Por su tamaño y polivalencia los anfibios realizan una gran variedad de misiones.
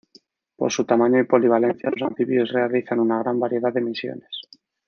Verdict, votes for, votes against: rejected, 1, 2